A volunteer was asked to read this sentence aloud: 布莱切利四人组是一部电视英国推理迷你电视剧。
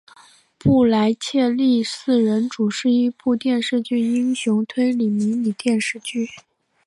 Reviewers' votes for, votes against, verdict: 0, 3, rejected